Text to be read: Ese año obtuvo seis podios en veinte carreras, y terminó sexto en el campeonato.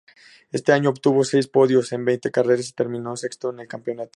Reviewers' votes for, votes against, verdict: 4, 0, accepted